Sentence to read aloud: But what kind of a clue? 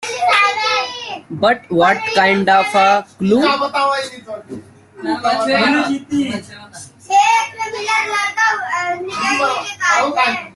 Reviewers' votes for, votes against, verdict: 0, 2, rejected